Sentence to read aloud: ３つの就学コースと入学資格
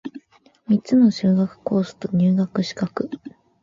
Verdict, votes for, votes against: rejected, 0, 2